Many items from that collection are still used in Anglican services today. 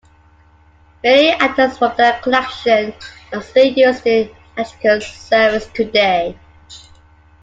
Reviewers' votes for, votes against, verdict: 0, 2, rejected